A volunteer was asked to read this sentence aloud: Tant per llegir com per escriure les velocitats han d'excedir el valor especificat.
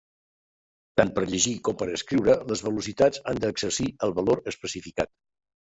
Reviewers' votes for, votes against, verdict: 0, 2, rejected